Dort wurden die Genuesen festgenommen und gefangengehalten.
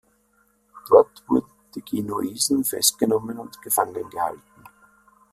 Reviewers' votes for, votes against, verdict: 1, 2, rejected